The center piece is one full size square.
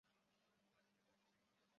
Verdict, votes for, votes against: rejected, 0, 2